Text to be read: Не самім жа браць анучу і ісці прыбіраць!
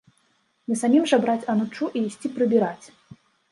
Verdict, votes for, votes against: rejected, 1, 2